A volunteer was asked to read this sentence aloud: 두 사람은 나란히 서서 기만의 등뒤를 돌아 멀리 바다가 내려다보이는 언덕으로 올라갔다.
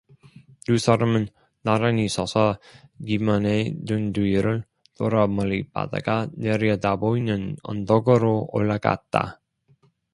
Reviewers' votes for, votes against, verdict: 2, 0, accepted